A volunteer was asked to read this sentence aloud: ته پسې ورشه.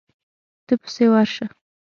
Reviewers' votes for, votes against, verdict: 6, 0, accepted